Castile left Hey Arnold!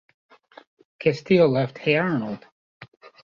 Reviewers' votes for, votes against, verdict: 1, 2, rejected